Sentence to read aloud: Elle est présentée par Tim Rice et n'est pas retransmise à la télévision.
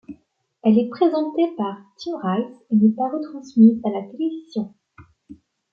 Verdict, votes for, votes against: accepted, 2, 0